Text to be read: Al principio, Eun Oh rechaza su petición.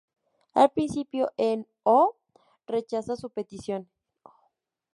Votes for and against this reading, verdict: 2, 0, accepted